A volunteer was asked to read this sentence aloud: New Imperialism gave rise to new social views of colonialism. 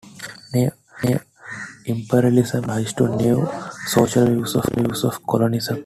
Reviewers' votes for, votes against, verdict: 0, 2, rejected